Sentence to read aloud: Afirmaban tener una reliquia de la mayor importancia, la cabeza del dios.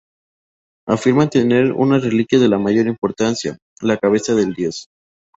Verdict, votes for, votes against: rejected, 0, 4